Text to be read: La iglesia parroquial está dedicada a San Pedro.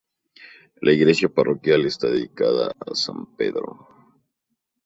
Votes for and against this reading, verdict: 4, 0, accepted